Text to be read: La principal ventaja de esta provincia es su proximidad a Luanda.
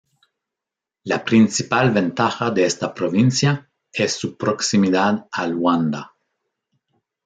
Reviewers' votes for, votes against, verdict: 2, 0, accepted